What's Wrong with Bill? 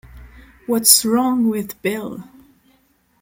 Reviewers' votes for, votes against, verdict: 3, 0, accepted